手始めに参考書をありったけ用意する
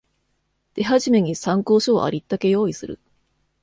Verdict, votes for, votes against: accepted, 2, 0